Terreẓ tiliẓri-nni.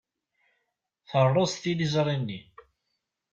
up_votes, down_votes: 2, 0